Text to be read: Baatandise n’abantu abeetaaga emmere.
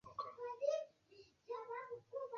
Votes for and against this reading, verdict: 0, 2, rejected